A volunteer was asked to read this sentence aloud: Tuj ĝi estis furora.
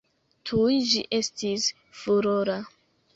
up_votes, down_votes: 1, 2